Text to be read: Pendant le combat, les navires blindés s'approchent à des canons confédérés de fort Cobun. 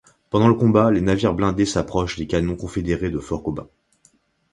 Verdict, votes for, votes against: rejected, 0, 2